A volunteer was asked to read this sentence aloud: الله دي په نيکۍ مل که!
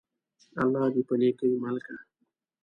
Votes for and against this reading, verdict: 2, 0, accepted